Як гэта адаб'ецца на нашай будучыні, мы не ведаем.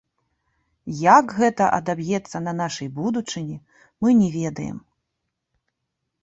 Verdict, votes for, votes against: rejected, 2, 3